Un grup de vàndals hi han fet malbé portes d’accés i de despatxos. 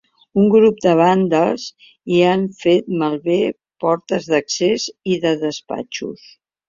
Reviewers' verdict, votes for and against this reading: accepted, 2, 1